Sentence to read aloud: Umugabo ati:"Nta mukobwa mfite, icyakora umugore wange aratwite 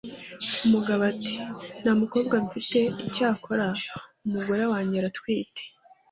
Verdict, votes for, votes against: accepted, 2, 0